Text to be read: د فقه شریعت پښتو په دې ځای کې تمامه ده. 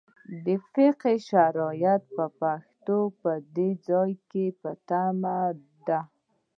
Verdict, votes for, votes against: rejected, 1, 2